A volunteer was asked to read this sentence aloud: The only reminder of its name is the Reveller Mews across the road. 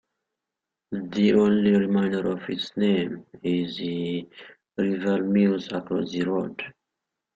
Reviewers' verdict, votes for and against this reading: rejected, 0, 2